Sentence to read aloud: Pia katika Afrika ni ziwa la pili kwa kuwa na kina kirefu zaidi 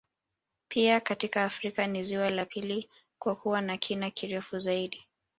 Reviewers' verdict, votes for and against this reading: accepted, 4, 1